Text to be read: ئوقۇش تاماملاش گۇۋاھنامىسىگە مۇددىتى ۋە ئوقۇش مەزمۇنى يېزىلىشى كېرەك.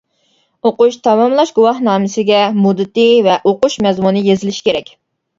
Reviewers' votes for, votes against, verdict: 2, 0, accepted